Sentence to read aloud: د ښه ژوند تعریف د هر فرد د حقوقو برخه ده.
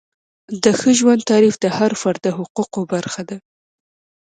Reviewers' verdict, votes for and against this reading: accepted, 2, 0